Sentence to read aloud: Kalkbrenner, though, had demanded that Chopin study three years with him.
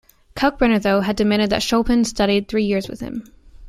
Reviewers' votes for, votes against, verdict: 2, 0, accepted